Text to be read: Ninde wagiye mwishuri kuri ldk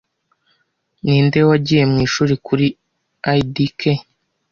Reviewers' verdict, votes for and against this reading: accepted, 2, 0